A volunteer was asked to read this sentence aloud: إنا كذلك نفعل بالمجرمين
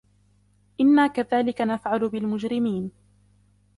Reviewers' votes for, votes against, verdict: 2, 1, accepted